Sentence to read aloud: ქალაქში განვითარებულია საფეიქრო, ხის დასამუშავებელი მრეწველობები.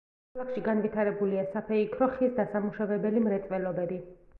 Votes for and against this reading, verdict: 1, 2, rejected